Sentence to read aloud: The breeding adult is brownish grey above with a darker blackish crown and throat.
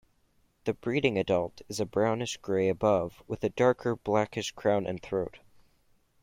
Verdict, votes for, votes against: accepted, 2, 0